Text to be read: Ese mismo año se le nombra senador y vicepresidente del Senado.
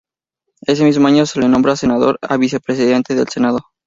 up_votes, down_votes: 0, 2